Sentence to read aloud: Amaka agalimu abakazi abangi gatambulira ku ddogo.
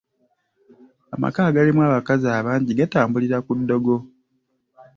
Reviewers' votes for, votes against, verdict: 2, 1, accepted